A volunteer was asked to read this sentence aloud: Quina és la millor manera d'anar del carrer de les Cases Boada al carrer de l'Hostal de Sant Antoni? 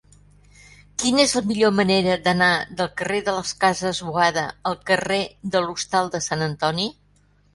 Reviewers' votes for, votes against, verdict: 3, 0, accepted